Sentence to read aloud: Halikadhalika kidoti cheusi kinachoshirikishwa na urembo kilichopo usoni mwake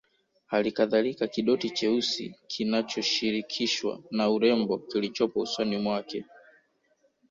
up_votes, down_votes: 0, 2